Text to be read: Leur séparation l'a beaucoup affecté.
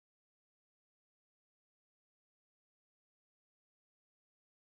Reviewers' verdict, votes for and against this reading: rejected, 0, 2